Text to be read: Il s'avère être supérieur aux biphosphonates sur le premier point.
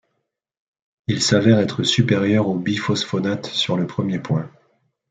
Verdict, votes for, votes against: accepted, 2, 0